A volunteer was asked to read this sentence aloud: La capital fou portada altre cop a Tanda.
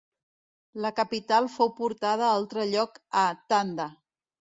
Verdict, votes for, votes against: rejected, 0, 2